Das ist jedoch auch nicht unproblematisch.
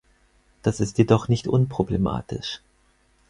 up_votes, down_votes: 2, 4